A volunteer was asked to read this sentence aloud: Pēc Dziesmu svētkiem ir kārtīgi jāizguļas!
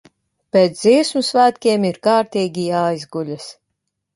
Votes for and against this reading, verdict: 2, 0, accepted